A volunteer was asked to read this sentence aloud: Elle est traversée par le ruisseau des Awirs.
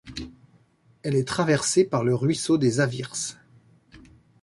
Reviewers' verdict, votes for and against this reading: accepted, 2, 1